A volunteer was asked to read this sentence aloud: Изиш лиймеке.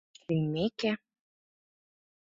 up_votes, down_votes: 1, 2